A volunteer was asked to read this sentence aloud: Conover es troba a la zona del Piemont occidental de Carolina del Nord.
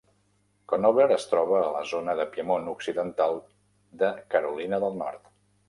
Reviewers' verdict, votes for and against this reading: rejected, 1, 2